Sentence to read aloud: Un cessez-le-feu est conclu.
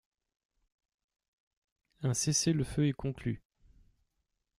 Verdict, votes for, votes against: accepted, 2, 0